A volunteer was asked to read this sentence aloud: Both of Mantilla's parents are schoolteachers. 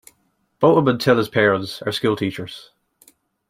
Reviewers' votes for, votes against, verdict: 1, 2, rejected